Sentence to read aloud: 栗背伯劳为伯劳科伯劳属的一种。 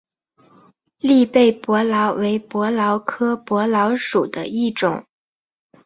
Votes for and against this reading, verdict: 3, 0, accepted